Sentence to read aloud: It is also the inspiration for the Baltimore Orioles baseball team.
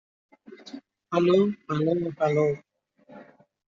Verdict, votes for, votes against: rejected, 0, 2